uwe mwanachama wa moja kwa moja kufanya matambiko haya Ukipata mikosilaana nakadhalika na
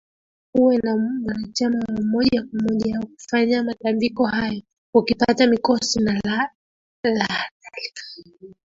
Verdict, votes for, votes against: rejected, 0, 2